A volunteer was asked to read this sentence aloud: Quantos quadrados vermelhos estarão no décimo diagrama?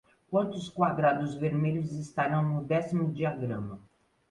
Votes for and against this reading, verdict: 2, 0, accepted